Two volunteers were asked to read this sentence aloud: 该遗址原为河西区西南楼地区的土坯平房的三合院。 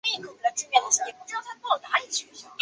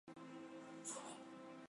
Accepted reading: first